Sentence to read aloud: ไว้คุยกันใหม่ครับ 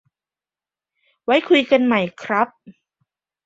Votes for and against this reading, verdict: 2, 0, accepted